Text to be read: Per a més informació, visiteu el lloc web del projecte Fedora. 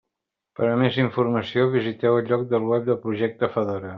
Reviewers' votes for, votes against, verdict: 1, 2, rejected